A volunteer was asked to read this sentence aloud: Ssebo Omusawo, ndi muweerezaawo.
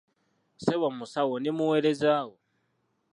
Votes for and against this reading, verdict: 1, 2, rejected